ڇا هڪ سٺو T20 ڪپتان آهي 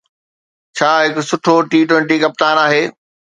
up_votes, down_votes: 0, 2